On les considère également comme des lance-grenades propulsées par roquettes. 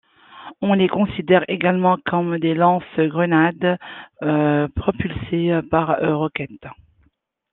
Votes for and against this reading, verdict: 2, 1, accepted